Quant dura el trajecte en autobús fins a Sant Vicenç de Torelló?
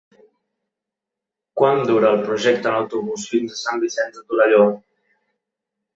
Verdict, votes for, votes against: rejected, 0, 2